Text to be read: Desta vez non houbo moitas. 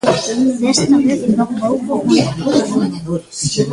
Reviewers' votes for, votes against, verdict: 0, 2, rejected